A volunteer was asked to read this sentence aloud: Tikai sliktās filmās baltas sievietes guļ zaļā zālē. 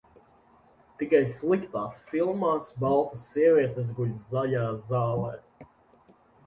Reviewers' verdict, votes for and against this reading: accepted, 2, 0